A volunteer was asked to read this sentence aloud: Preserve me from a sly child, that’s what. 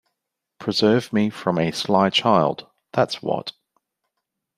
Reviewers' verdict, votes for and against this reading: accepted, 2, 0